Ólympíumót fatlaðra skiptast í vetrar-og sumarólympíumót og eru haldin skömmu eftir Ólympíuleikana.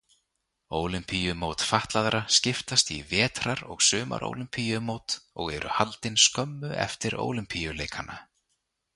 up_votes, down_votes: 2, 0